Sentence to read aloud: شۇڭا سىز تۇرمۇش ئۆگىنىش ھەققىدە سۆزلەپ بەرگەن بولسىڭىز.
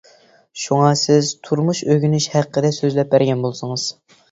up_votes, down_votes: 2, 0